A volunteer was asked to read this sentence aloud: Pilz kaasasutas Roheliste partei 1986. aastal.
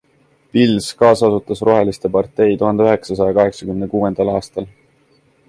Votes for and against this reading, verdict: 0, 2, rejected